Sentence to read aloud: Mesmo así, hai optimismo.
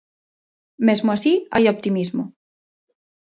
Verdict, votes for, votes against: accepted, 2, 0